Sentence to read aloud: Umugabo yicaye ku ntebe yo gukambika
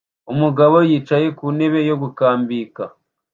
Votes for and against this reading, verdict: 2, 0, accepted